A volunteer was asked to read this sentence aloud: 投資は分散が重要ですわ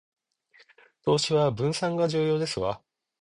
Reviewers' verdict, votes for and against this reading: accepted, 2, 0